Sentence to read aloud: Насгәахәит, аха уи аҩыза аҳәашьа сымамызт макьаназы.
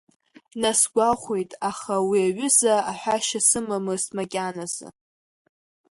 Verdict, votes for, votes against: accepted, 2, 0